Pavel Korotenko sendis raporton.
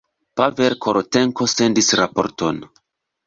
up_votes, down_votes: 2, 0